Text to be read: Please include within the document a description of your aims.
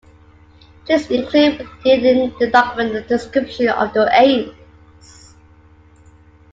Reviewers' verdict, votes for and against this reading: rejected, 0, 2